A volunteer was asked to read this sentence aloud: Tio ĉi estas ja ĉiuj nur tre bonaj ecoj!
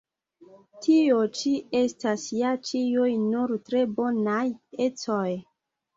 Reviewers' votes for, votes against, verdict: 4, 2, accepted